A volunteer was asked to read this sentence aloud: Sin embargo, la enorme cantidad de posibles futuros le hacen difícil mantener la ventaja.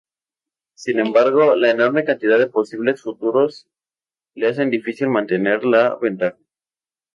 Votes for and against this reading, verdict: 0, 2, rejected